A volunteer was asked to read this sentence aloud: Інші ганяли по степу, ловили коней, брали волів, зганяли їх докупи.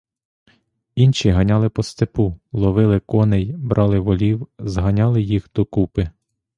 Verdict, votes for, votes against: accepted, 2, 0